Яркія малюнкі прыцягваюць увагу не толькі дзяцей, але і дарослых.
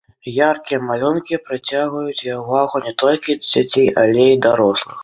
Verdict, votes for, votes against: accepted, 2, 0